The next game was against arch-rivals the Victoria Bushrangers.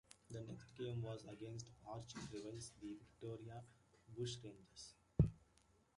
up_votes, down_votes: 2, 0